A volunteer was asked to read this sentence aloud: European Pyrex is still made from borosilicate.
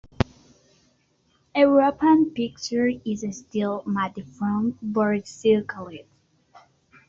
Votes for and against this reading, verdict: 0, 2, rejected